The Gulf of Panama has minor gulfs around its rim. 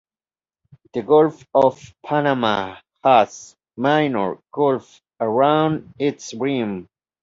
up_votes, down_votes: 2, 0